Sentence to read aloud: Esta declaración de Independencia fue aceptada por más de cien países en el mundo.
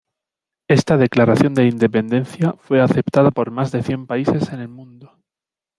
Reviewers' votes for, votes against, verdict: 1, 2, rejected